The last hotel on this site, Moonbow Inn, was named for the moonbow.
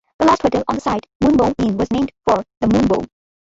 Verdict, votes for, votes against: rejected, 0, 2